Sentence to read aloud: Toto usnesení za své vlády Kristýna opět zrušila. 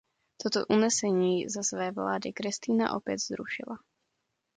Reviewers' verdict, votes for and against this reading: rejected, 0, 2